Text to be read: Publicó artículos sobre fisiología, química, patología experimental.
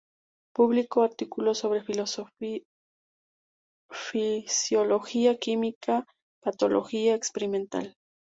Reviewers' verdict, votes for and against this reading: rejected, 2, 2